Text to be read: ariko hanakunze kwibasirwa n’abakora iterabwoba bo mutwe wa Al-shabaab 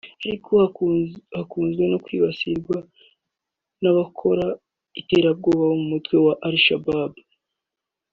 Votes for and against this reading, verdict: 4, 2, accepted